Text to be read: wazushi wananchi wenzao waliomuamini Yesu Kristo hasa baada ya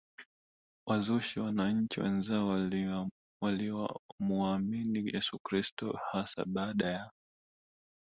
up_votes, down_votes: 1, 2